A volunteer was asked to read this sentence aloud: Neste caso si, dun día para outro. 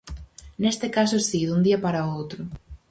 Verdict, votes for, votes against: accepted, 4, 0